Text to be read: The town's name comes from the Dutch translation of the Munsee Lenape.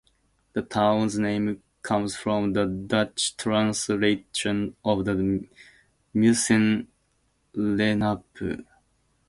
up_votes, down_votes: 0, 2